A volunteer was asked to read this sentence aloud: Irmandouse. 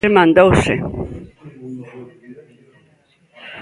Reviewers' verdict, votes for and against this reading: rejected, 1, 2